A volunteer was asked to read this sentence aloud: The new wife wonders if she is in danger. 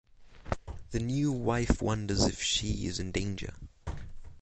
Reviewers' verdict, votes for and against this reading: accepted, 6, 0